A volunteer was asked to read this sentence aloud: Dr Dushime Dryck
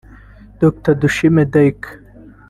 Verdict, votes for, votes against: rejected, 1, 2